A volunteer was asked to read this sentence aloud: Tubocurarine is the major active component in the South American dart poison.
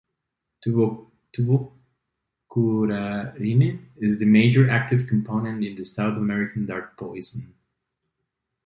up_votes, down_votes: 0, 2